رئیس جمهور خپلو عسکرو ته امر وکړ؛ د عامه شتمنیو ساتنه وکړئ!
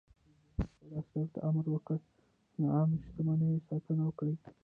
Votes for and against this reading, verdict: 0, 2, rejected